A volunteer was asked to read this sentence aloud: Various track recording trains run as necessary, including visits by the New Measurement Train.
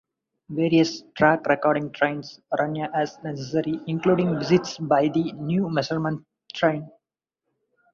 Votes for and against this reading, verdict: 0, 2, rejected